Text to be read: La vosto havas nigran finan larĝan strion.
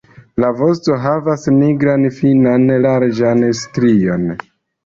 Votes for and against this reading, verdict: 3, 1, accepted